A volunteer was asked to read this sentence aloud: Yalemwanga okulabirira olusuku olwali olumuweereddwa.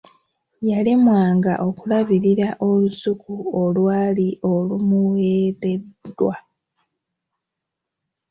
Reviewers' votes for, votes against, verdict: 3, 0, accepted